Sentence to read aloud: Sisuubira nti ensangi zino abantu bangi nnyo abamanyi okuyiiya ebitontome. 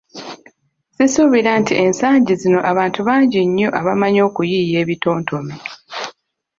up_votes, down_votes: 2, 0